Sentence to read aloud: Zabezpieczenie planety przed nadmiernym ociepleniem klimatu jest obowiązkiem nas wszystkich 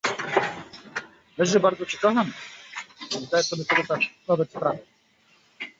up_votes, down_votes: 0, 2